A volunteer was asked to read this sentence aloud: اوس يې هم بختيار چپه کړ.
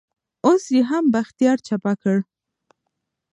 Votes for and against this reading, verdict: 1, 2, rejected